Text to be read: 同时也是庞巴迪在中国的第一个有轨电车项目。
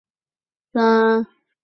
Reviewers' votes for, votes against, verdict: 0, 6, rejected